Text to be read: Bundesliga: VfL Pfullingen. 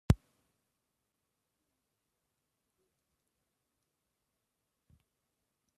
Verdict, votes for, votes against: rejected, 0, 2